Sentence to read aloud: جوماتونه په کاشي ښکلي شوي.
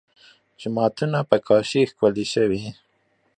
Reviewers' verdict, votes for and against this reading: accepted, 2, 0